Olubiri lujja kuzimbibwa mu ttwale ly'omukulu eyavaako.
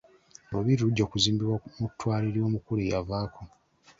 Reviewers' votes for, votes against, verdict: 2, 1, accepted